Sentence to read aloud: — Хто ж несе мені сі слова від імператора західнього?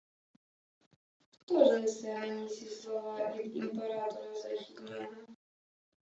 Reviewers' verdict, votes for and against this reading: rejected, 1, 2